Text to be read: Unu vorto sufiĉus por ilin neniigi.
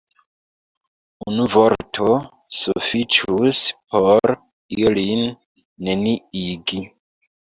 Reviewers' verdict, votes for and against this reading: accepted, 2, 0